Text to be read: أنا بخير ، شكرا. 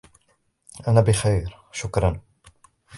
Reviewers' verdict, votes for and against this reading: accepted, 2, 1